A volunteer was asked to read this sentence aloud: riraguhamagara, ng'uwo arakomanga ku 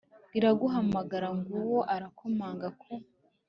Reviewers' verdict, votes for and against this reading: accepted, 2, 0